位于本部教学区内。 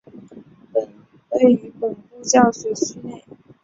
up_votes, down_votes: 1, 2